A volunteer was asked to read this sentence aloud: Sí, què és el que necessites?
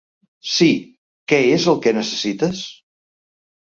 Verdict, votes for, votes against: accepted, 2, 0